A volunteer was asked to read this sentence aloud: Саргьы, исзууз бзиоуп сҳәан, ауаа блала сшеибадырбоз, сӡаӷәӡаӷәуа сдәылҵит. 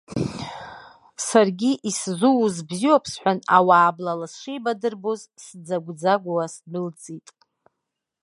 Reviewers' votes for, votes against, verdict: 1, 2, rejected